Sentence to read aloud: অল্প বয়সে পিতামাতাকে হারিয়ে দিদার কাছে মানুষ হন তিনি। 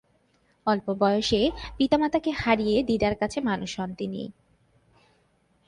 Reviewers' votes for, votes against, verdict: 2, 0, accepted